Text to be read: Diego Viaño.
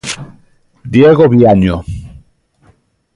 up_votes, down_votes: 2, 0